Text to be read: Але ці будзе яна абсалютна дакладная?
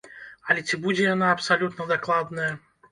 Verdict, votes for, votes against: accepted, 2, 0